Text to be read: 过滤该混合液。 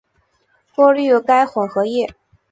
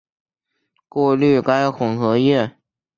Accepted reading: second